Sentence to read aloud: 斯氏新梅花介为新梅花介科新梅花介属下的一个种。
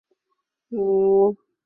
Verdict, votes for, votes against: rejected, 0, 5